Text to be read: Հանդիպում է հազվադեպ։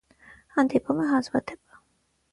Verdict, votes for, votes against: accepted, 6, 0